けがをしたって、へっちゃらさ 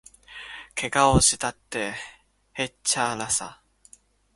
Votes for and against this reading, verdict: 0, 2, rejected